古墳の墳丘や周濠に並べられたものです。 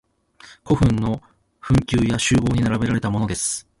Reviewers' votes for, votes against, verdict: 2, 0, accepted